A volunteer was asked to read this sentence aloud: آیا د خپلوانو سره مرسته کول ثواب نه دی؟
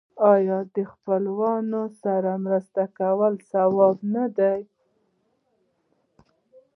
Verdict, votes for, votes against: rejected, 0, 2